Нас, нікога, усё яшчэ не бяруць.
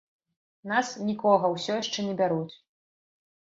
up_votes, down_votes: 2, 0